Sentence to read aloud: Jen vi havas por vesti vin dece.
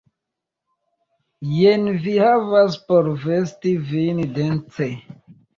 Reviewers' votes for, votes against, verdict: 0, 2, rejected